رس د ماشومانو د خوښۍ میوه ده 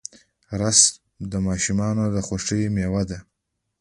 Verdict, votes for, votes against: rejected, 1, 2